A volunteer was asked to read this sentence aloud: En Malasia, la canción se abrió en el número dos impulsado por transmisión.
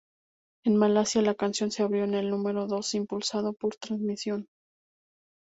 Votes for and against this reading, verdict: 4, 0, accepted